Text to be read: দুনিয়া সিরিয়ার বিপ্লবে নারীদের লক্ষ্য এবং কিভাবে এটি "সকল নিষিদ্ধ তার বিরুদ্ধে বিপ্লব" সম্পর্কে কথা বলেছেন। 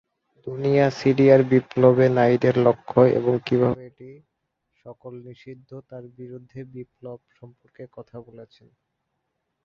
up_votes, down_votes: 3, 3